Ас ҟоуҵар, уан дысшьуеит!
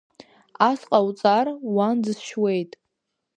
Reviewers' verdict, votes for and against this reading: accepted, 2, 0